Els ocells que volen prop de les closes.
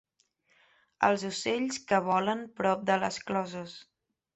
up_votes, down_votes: 4, 0